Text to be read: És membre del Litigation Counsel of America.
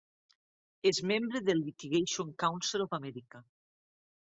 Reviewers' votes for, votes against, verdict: 2, 0, accepted